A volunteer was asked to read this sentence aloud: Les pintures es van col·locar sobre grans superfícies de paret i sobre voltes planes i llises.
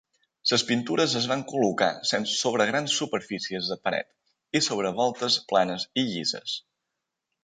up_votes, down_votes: 1, 2